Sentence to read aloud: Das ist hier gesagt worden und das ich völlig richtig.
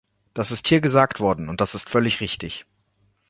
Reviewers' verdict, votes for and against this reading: rejected, 1, 2